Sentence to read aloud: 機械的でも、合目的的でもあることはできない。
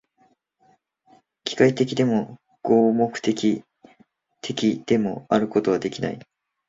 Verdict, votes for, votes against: accepted, 2, 1